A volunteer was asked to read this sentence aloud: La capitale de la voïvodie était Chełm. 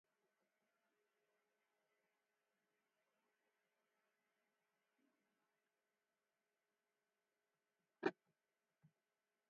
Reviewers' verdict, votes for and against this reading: rejected, 0, 4